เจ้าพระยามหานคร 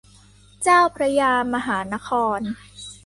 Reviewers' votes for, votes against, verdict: 2, 0, accepted